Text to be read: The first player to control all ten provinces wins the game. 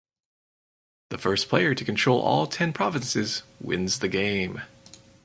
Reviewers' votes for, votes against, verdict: 4, 0, accepted